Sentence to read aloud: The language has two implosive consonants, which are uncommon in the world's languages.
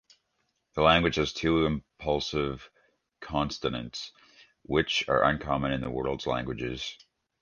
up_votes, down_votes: 1, 3